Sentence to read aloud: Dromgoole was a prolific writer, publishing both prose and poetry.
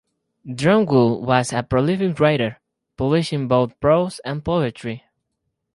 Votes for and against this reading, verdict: 2, 2, rejected